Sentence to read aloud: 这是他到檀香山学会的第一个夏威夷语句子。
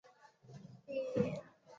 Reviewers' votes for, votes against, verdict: 0, 3, rejected